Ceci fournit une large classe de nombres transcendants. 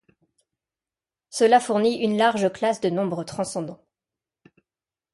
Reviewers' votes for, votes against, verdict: 0, 2, rejected